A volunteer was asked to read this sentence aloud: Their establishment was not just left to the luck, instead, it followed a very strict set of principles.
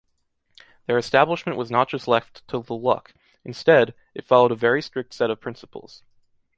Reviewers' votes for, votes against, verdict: 2, 0, accepted